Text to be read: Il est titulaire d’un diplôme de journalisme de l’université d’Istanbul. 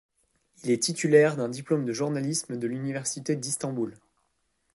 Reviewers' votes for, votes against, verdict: 2, 0, accepted